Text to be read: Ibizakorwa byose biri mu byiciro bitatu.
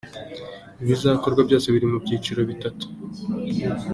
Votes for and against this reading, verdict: 2, 0, accepted